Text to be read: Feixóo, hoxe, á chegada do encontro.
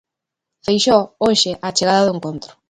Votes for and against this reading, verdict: 2, 0, accepted